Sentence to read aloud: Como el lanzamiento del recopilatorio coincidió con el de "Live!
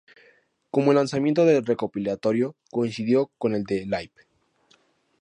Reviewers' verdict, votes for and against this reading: accepted, 2, 0